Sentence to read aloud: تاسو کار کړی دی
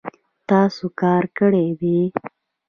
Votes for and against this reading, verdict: 1, 2, rejected